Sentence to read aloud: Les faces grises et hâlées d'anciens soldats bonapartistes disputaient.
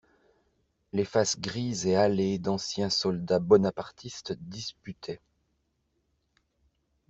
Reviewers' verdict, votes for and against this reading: accepted, 2, 0